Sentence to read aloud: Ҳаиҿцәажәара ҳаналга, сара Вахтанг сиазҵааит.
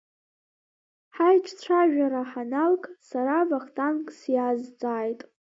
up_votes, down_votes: 0, 2